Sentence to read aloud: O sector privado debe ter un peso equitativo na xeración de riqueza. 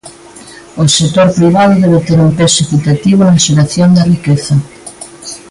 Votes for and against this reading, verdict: 3, 0, accepted